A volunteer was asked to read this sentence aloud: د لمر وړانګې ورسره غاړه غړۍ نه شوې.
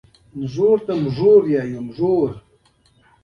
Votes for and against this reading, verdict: 1, 2, rejected